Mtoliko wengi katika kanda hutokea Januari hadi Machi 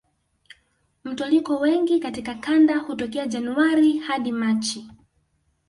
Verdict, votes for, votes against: rejected, 0, 2